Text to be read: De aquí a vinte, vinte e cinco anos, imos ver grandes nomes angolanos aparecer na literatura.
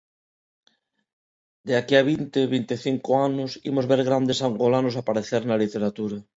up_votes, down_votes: 0, 2